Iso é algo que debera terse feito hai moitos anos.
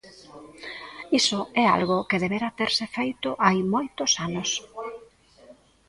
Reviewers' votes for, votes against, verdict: 1, 2, rejected